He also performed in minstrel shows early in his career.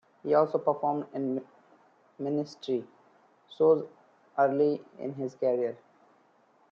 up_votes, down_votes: 1, 2